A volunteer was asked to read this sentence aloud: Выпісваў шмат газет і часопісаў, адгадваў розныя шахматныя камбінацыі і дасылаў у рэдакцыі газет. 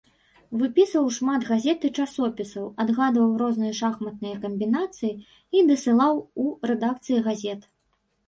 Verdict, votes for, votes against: accepted, 2, 0